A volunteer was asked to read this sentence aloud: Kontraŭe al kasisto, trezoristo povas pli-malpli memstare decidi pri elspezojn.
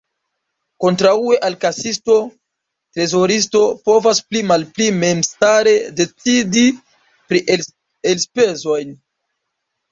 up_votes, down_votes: 1, 2